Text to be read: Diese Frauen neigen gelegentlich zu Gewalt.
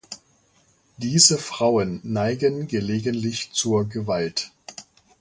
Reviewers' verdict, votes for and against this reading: rejected, 0, 2